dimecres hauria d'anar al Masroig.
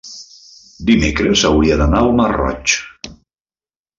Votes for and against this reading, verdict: 0, 2, rejected